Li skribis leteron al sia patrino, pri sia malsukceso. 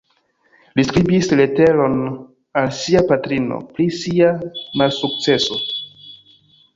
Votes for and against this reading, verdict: 2, 0, accepted